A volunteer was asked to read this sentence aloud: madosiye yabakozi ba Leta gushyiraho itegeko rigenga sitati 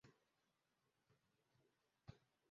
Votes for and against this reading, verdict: 0, 2, rejected